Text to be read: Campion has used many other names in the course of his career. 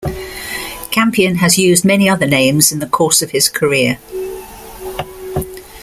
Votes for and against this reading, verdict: 2, 0, accepted